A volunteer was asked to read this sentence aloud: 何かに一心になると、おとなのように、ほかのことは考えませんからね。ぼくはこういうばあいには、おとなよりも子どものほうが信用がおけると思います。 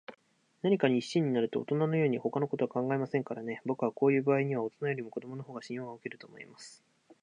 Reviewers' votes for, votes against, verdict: 4, 0, accepted